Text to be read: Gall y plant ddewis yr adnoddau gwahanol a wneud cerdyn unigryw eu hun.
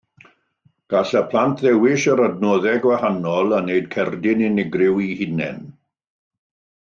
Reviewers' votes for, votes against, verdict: 1, 2, rejected